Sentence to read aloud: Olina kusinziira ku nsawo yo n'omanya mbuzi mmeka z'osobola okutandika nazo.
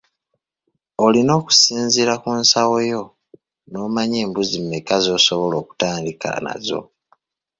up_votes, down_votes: 0, 2